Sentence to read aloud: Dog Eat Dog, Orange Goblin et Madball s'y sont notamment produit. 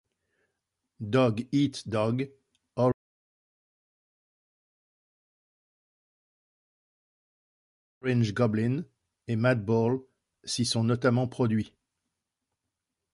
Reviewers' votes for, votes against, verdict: 1, 2, rejected